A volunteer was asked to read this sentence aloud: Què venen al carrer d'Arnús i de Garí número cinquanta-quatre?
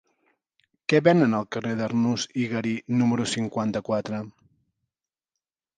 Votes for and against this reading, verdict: 0, 2, rejected